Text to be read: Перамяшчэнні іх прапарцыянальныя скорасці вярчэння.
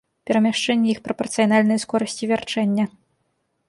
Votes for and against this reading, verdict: 1, 2, rejected